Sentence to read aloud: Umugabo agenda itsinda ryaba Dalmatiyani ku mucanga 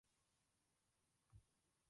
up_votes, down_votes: 0, 2